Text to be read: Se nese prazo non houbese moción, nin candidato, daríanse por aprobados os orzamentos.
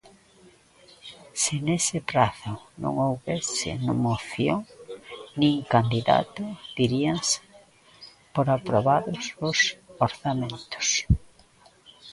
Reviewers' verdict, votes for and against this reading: rejected, 0, 2